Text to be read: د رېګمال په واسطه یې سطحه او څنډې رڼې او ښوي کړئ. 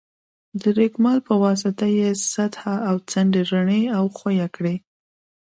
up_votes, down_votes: 2, 0